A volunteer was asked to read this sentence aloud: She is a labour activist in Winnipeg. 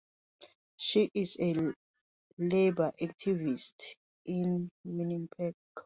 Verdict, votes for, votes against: rejected, 1, 2